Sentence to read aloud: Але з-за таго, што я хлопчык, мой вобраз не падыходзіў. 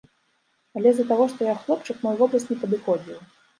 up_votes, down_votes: 2, 0